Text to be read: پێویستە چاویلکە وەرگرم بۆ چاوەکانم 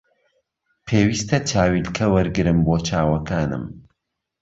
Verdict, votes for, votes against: accepted, 2, 0